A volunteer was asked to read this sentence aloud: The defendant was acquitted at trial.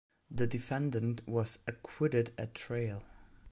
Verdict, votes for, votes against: rejected, 0, 2